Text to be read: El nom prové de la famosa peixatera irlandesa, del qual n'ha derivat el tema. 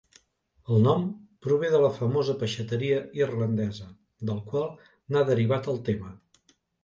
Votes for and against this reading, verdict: 0, 2, rejected